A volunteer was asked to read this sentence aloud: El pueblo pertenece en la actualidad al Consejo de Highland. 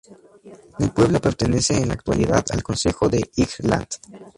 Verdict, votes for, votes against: rejected, 0, 4